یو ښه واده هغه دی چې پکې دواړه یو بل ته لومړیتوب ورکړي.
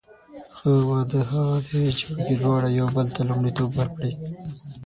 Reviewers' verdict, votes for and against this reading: rejected, 0, 6